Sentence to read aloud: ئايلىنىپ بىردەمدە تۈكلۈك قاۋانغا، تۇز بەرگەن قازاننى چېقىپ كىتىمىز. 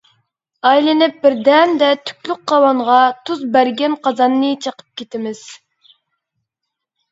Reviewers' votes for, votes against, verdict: 2, 0, accepted